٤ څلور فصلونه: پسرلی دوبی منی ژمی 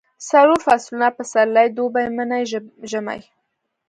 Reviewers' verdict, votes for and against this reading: rejected, 0, 2